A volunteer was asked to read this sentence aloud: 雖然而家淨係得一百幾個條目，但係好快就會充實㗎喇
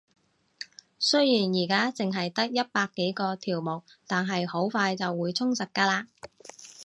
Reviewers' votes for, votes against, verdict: 2, 0, accepted